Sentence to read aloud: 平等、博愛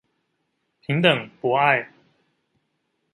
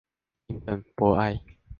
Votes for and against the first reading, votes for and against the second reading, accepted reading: 2, 0, 0, 2, first